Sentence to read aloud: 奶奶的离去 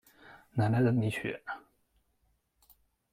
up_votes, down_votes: 2, 1